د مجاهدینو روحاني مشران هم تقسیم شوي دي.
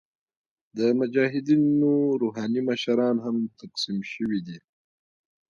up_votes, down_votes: 1, 2